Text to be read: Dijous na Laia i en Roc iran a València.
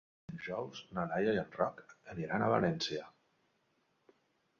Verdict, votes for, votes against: rejected, 0, 2